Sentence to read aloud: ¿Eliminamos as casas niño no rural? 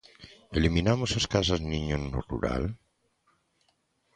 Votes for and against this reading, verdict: 2, 0, accepted